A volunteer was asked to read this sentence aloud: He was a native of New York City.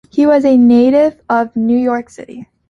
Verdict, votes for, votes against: accepted, 2, 0